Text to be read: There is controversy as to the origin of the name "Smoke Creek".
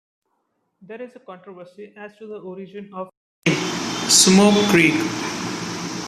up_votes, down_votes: 0, 2